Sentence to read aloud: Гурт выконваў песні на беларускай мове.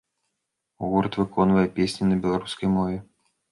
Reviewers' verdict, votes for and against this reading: rejected, 0, 2